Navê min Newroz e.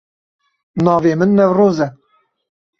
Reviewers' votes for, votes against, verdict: 2, 0, accepted